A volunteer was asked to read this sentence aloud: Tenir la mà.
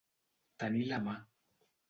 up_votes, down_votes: 2, 0